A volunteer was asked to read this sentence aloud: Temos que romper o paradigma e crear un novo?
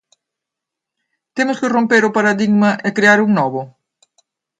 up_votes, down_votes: 3, 0